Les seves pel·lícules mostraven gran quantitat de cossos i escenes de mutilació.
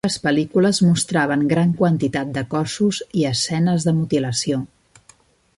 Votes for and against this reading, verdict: 0, 2, rejected